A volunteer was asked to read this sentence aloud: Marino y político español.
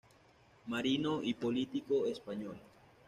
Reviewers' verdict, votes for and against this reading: accepted, 2, 0